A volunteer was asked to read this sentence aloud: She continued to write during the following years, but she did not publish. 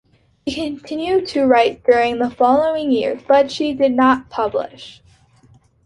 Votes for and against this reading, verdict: 2, 0, accepted